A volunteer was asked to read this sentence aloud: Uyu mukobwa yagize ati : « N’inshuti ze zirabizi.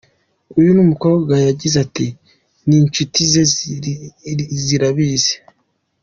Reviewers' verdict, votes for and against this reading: rejected, 1, 2